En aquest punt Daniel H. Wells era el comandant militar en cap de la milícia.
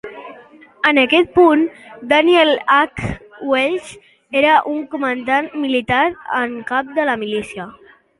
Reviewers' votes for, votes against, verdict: 0, 2, rejected